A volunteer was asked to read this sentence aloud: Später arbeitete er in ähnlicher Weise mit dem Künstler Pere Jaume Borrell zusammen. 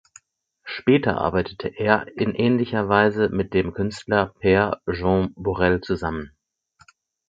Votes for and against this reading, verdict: 4, 2, accepted